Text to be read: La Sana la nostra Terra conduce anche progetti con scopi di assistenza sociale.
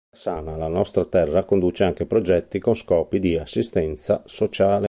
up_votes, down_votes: 2, 3